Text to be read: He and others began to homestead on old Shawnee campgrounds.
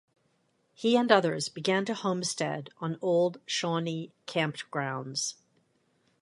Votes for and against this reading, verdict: 0, 2, rejected